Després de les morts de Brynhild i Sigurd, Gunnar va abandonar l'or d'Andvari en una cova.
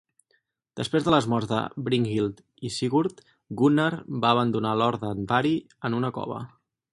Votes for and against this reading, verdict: 4, 0, accepted